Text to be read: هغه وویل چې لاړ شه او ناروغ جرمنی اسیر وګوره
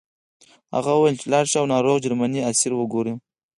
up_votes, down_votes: 2, 4